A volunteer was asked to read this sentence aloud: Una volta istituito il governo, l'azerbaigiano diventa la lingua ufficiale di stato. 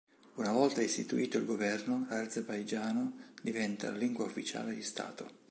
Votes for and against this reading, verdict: 2, 0, accepted